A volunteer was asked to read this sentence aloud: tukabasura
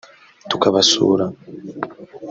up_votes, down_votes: 0, 2